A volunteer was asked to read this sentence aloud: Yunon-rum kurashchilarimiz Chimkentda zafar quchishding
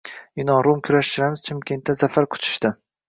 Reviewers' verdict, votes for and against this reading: accepted, 2, 0